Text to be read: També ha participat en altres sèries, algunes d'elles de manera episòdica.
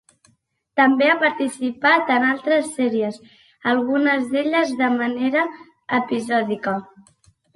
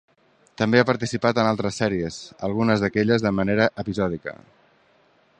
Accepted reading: first